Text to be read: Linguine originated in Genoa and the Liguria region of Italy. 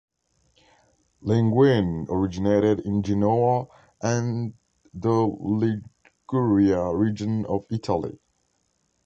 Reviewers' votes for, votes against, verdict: 1, 2, rejected